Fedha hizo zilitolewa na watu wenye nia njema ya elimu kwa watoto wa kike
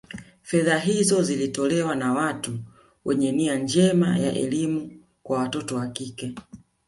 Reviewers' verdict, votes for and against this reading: accepted, 2, 0